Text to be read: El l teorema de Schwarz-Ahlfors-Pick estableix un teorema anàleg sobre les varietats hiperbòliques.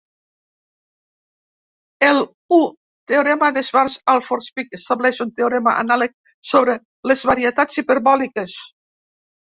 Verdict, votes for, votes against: rejected, 0, 2